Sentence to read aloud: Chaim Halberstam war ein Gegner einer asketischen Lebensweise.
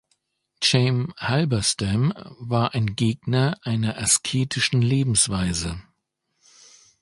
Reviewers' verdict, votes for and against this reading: rejected, 1, 2